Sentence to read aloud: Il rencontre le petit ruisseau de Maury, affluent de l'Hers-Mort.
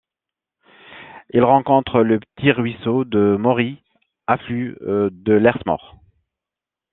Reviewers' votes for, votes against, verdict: 1, 2, rejected